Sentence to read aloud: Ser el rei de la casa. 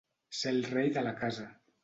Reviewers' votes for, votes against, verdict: 2, 0, accepted